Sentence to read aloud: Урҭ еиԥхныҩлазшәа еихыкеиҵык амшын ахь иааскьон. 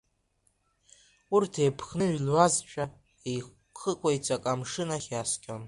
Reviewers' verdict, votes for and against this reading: rejected, 0, 2